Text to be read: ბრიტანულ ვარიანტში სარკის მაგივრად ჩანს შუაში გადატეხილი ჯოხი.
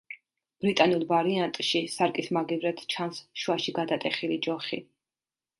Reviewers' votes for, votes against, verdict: 2, 0, accepted